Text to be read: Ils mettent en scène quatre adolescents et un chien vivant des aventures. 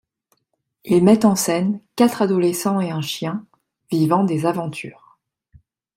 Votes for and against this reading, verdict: 2, 0, accepted